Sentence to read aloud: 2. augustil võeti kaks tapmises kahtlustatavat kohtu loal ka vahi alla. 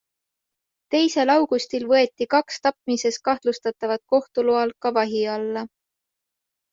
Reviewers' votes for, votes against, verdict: 0, 2, rejected